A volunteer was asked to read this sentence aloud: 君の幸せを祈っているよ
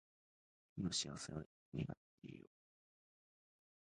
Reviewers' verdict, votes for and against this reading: rejected, 0, 2